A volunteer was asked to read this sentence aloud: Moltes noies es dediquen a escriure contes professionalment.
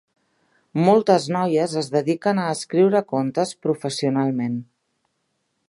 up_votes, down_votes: 3, 0